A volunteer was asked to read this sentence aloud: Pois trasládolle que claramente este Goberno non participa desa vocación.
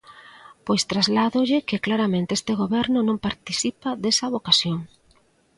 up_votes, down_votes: 2, 0